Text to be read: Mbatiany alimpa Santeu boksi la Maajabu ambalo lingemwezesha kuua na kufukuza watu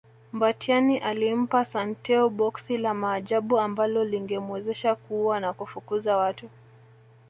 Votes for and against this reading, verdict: 1, 2, rejected